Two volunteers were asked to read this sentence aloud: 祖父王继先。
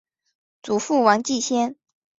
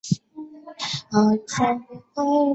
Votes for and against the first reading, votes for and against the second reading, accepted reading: 2, 0, 1, 2, first